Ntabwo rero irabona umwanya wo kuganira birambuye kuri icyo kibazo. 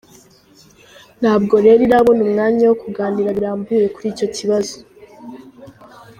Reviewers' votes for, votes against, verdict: 2, 1, accepted